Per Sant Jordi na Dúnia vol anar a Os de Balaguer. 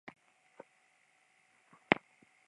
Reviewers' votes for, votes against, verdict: 1, 2, rejected